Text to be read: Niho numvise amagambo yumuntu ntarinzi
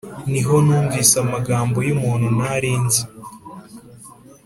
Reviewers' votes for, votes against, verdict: 2, 0, accepted